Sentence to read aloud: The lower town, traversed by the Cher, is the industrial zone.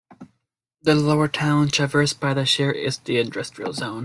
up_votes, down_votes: 2, 1